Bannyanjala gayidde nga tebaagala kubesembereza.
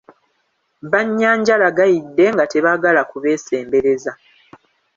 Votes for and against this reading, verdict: 2, 1, accepted